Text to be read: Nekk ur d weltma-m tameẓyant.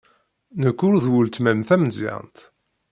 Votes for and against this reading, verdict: 2, 0, accepted